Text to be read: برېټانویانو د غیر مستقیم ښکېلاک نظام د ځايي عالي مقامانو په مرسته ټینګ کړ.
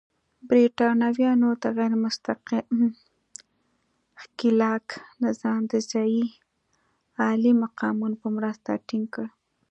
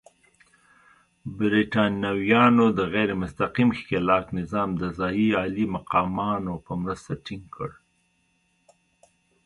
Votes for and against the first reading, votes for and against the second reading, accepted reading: 1, 2, 2, 1, second